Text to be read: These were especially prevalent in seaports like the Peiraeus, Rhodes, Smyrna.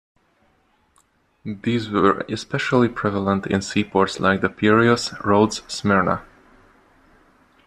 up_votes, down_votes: 2, 1